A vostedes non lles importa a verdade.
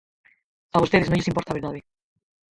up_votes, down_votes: 0, 4